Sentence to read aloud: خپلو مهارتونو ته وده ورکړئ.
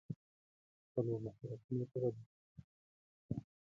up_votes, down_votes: 0, 2